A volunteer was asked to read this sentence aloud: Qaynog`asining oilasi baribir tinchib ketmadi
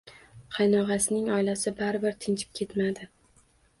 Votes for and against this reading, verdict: 1, 2, rejected